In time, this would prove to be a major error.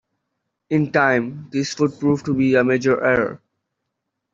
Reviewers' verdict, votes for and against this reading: accepted, 2, 0